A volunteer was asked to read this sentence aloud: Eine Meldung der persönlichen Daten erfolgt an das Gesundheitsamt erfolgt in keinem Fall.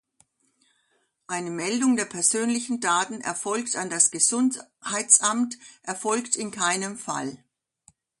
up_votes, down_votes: 2, 1